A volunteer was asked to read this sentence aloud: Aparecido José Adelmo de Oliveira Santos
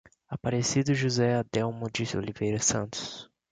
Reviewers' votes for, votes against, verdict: 0, 2, rejected